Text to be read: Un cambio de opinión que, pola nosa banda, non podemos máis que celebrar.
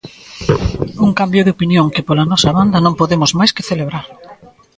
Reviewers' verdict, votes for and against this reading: rejected, 1, 2